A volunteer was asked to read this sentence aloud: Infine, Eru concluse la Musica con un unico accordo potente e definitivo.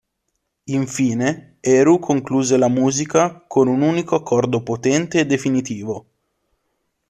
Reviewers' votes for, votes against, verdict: 2, 0, accepted